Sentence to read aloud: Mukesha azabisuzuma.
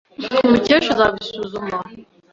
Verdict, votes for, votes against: accepted, 2, 0